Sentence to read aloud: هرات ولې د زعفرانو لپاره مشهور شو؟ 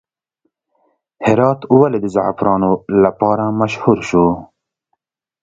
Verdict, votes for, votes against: accepted, 2, 0